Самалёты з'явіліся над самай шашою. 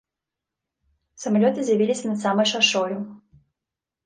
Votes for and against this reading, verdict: 2, 0, accepted